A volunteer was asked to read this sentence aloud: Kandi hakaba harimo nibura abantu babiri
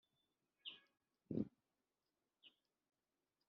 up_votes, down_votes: 2, 3